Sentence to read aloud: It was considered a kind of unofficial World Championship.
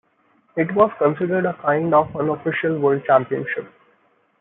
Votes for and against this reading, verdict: 2, 0, accepted